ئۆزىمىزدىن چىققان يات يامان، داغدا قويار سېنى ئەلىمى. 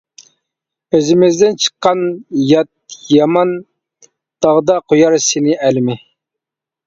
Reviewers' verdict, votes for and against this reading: accepted, 2, 0